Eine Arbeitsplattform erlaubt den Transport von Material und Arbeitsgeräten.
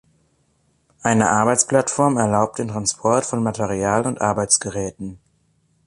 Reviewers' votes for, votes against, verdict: 3, 0, accepted